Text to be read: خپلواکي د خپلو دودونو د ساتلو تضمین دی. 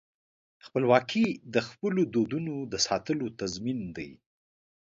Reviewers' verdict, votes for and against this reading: accepted, 2, 0